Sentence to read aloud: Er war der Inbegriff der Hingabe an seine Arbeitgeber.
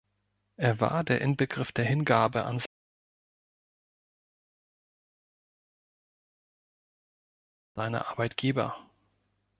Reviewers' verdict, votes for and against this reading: rejected, 1, 3